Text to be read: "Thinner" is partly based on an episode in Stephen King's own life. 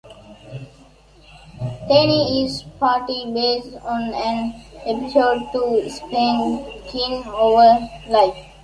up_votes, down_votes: 0, 3